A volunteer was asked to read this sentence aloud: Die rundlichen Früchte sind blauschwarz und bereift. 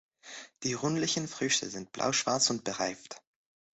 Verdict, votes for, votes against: accepted, 2, 0